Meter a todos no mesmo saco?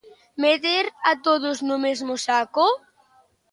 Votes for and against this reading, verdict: 3, 1, accepted